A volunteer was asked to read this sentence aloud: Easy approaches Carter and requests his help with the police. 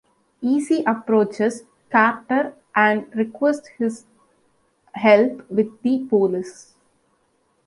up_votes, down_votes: 2, 0